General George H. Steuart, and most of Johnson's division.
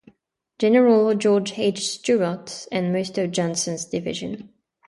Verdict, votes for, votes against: accepted, 5, 0